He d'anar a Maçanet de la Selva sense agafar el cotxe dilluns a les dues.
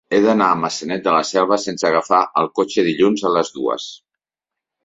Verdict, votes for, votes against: accepted, 3, 0